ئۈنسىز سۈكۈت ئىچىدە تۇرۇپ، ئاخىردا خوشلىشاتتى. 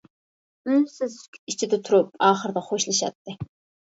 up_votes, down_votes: 1, 2